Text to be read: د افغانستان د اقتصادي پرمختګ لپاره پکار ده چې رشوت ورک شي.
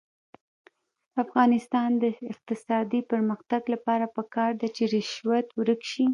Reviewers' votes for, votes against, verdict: 0, 2, rejected